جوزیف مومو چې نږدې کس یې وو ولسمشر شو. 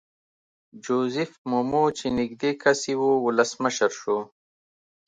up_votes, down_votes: 2, 0